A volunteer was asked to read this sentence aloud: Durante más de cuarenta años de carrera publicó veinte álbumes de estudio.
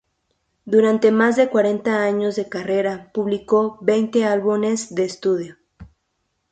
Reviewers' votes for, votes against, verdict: 0, 2, rejected